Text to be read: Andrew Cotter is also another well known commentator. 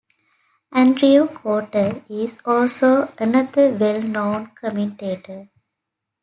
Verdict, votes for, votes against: accepted, 2, 0